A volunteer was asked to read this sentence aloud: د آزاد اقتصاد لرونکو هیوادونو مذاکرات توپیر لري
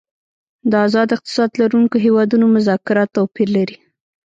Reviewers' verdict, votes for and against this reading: rejected, 1, 2